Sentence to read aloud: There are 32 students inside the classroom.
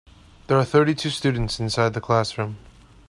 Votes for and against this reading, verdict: 0, 2, rejected